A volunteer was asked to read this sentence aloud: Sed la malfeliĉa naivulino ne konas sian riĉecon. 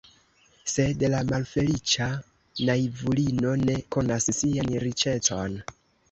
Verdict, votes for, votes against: rejected, 1, 2